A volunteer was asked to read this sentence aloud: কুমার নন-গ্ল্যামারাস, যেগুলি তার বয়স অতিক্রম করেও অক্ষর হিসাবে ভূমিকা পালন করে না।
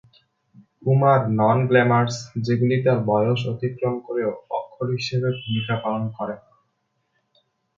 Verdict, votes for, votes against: rejected, 1, 3